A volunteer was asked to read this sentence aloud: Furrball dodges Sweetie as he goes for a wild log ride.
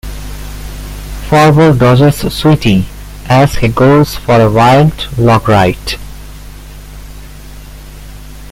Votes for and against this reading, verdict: 1, 2, rejected